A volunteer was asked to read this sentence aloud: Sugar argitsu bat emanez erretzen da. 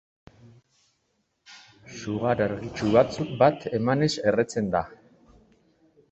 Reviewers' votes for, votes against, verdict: 1, 2, rejected